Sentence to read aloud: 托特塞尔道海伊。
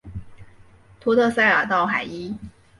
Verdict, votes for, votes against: accepted, 2, 0